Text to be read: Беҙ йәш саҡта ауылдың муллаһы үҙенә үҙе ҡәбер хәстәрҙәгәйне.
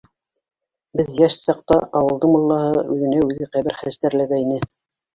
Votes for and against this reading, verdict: 0, 2, rejected